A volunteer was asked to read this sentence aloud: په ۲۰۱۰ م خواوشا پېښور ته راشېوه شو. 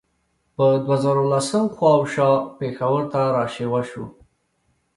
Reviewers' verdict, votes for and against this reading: rejected, 0, 2